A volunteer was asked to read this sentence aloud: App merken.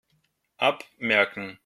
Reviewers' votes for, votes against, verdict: 1, 2, rejected